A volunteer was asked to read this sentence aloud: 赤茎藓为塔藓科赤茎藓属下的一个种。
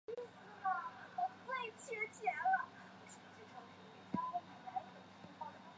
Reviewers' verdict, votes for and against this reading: rejected, 0, 2